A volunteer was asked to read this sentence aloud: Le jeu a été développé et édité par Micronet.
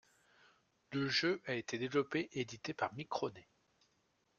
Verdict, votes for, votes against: rejected, 1, 2